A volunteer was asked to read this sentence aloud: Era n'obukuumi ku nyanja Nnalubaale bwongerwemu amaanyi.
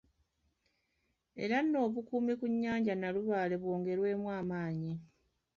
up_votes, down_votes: 2, 0